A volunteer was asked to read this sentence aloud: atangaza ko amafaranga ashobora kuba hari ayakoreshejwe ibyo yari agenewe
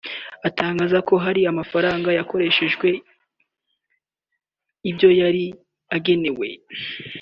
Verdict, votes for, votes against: rejected, 1, 3